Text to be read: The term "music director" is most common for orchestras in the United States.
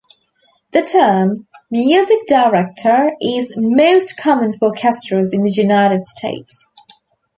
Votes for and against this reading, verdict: 0, 2, rejected